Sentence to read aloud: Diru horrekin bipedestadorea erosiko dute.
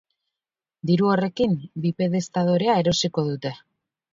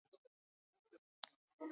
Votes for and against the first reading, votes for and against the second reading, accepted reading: 2, 0, 0, 4, first